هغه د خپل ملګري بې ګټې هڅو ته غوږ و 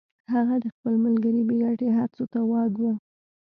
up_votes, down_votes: 2, 0